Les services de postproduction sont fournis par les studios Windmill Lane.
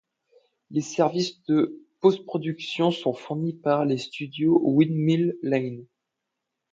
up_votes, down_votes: 2, 0